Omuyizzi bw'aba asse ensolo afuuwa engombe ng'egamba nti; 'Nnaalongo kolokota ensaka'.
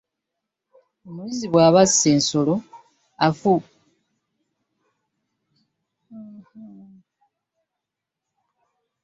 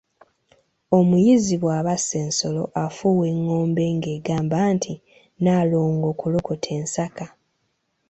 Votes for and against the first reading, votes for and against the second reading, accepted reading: 0, 2, 2, 0, second